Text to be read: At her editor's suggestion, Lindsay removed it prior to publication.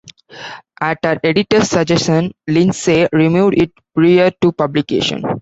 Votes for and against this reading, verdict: 1, 2, rejected